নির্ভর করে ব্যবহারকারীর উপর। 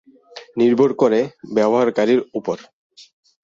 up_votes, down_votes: 0, 4